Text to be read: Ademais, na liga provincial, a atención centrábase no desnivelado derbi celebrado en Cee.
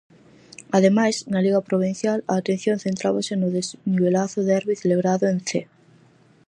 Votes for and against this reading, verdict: 0, 4, rejected